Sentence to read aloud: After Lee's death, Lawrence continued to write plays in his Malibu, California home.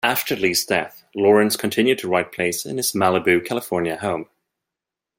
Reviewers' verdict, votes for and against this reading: accepted, 2, 0